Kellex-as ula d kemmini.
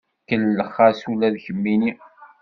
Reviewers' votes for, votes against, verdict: 2, 0, accepted